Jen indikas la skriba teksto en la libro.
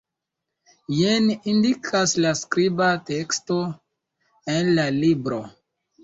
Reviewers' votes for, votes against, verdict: 0, 2, rejected